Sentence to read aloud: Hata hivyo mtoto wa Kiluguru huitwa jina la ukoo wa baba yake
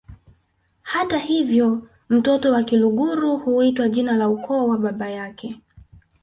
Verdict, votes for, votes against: rejected, 1, 2